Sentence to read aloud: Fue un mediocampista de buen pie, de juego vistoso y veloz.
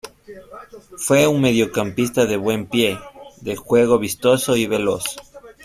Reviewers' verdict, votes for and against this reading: accepted, 2, 0